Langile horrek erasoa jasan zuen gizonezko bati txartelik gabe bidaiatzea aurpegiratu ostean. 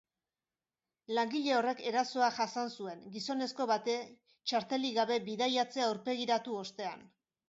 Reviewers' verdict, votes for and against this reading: rejected, 3, 3